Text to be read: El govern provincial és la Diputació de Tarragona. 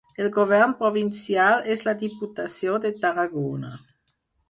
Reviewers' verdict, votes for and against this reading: accepted, 4, 0